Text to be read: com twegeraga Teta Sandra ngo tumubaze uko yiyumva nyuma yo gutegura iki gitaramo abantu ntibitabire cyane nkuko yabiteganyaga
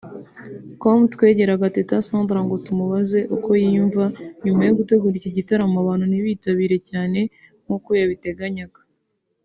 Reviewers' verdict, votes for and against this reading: accepted, 2, 0